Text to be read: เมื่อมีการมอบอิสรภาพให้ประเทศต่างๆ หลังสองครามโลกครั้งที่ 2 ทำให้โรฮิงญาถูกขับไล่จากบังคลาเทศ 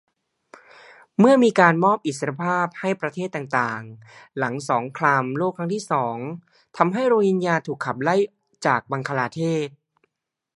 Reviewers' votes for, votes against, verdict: 0, 2, rejected